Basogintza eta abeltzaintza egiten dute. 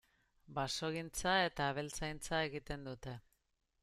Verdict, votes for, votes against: accepted, 2, 0